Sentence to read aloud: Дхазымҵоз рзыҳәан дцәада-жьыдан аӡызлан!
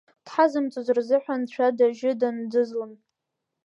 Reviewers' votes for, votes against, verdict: 2, 1, accepted